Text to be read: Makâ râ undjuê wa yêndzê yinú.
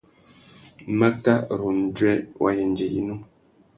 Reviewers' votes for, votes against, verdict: 2, 0, accepted